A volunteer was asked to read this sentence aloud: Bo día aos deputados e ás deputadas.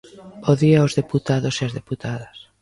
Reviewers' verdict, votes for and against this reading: accepted, 2, 0